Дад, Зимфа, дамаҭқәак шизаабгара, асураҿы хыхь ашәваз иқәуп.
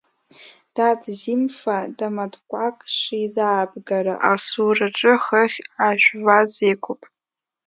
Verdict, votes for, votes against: rejected, 1, 2